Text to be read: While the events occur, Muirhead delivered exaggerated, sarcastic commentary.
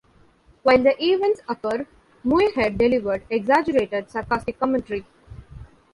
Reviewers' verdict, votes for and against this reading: rejected, 0, 2